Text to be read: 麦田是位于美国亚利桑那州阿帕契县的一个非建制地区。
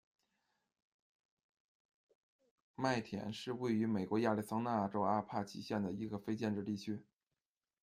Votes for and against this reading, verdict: 2, 0, accepted